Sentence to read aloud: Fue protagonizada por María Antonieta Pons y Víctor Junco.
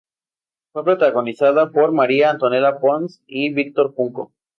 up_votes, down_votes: 0, 2